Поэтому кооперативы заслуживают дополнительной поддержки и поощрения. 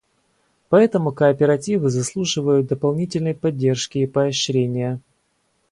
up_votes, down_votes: 2, 0